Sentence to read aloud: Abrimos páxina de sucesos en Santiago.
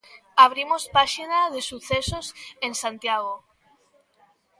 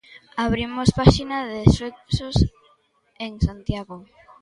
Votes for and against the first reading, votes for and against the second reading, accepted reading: 3, 0, 0, 2, first